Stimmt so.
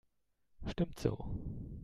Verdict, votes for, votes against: accepted, 2, 0